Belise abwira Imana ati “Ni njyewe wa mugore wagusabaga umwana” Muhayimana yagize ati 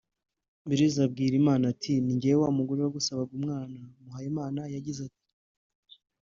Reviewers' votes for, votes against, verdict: 2, 0, accepted